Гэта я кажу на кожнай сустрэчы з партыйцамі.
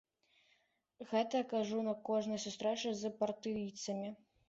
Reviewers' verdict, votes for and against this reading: accepted, 2, 0